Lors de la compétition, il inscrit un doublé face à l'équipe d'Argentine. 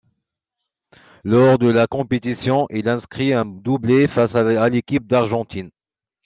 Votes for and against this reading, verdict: 2, 1, accepted